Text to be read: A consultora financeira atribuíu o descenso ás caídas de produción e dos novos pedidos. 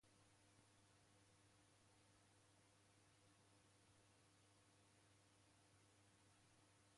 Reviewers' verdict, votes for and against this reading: rejected, 0, 2